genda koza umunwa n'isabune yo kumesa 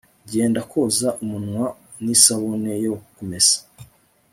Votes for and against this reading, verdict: 2, 0, accepted